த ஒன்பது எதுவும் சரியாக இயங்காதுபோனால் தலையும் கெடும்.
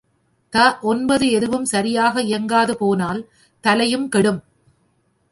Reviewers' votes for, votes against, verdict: 2, 0, accepted